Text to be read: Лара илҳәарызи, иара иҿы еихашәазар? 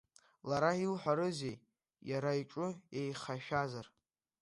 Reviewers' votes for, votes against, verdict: 2, 1, accepted